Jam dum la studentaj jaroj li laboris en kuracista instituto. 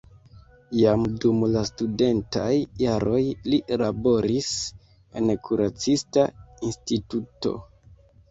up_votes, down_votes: 2, 1